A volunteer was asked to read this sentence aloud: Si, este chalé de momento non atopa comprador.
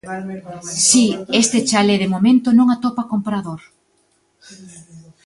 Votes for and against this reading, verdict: 2, 0, accepted